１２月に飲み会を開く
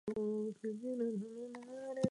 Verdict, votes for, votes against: rejected, 0, 2